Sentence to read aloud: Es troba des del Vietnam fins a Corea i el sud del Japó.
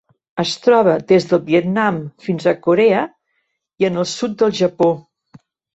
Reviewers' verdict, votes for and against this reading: rejected, 1, 2